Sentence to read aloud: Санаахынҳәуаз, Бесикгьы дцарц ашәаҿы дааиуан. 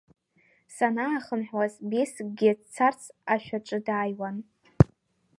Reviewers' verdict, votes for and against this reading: rejected, 1, 2